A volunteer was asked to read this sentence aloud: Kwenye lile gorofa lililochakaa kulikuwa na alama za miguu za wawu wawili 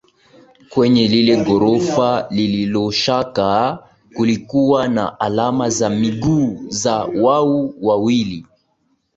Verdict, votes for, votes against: rejected, 0, 4